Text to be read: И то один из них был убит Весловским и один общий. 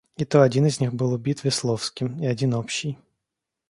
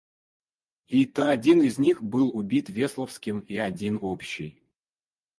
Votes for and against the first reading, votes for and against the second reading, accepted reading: 2, 0, 0, 4, first